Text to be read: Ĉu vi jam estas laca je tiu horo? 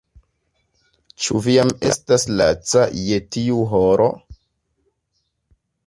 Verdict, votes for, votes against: accepted, 2, 0